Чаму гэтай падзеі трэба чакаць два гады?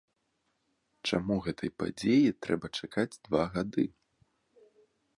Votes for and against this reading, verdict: 2, 1, accepted